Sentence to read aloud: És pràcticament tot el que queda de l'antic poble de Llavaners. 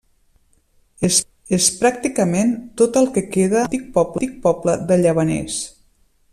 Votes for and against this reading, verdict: 0, 2, rejected